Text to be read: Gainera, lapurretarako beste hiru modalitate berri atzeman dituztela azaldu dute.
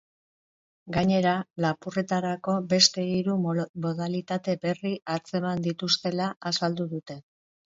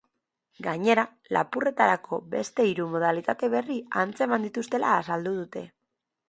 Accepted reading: second